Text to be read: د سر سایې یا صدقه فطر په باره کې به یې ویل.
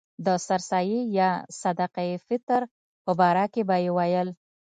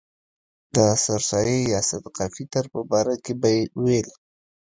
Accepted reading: first